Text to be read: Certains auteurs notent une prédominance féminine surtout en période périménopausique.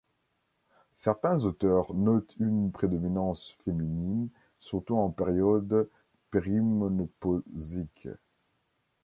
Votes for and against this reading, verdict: 0, 2, rejected